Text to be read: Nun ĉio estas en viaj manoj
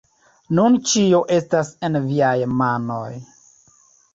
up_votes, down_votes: 2, 0